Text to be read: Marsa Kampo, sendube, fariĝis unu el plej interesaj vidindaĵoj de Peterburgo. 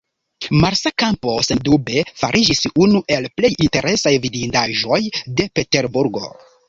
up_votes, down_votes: 2, 0